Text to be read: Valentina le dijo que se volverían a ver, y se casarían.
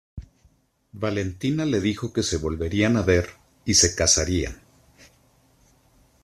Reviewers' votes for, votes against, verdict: 2, 1, accepted